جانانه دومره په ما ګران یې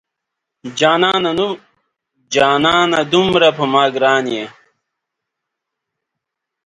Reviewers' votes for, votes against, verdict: 0, 2, rejected